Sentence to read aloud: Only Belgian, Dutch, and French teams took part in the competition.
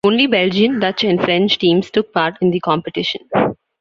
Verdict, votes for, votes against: accepted, 2, 1